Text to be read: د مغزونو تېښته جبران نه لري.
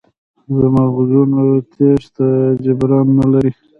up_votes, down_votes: 0, 2